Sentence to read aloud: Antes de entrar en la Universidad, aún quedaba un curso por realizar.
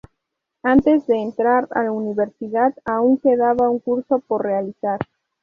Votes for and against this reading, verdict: 0, 2, rejected